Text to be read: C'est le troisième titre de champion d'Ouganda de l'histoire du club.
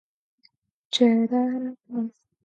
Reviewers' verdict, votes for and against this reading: rejected, 0, 4